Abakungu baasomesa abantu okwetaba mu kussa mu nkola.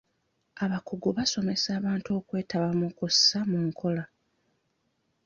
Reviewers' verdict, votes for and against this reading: rejected, 0, 2